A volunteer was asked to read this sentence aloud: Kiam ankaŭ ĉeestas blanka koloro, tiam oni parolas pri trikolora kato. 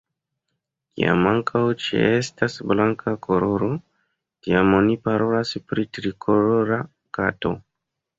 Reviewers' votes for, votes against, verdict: 0, 2, rejected